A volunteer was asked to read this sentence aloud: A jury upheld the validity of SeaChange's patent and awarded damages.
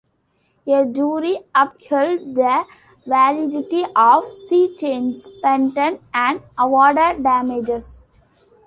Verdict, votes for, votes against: rejected, 0, 2